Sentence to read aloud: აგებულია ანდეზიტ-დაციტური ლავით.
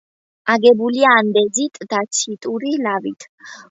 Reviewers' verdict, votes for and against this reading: accepted, 2, 1